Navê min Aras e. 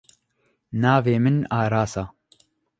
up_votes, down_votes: 1, 2